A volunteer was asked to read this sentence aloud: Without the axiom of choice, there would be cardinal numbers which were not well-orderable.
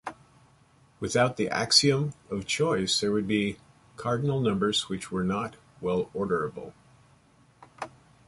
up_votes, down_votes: 2, 1